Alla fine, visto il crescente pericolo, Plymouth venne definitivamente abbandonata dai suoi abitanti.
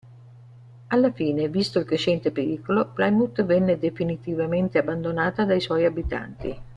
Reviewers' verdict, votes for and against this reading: accepted, 3, 0